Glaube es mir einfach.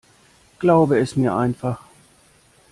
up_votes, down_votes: 2, 0